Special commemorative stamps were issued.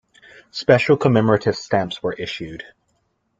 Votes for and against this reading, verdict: 2, 0, accepted